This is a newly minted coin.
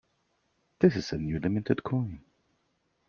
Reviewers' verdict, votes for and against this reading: accepted, 2, 0